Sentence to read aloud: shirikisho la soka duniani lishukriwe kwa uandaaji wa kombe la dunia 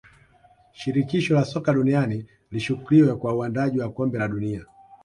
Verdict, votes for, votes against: accepted, 2, 0